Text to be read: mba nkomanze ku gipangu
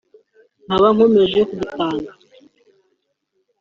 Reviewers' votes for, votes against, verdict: 0, 3, rejected